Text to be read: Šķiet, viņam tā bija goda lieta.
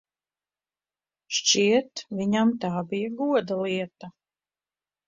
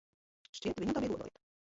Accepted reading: first